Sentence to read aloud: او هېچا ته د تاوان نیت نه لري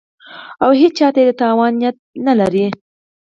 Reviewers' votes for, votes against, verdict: 4, 0, accepted